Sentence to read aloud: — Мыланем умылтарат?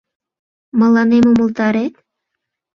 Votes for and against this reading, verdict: 1, 2, rejected